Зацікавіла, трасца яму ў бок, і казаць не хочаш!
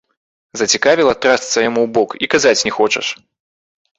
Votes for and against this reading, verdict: 2, 0, accepted